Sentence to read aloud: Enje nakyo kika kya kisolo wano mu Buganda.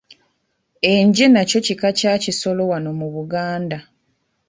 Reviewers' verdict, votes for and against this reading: accepted, 2, 0